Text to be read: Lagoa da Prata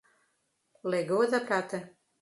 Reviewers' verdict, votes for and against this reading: rejected, 0, 2